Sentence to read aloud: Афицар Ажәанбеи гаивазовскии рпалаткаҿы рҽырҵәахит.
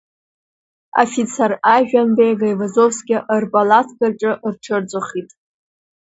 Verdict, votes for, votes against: accepted, 2, 0